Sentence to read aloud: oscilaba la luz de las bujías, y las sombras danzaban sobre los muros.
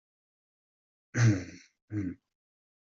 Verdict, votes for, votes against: rejected, 0, 2